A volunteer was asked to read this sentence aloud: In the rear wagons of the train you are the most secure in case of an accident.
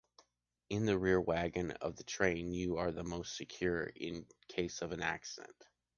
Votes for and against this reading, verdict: 0, 2, rejected